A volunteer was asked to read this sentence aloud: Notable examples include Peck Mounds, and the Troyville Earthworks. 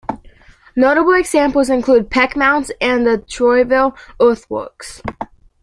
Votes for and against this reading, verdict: 2, 0, accepted